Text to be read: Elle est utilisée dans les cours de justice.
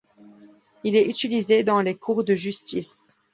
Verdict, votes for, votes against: rejected, 1, 2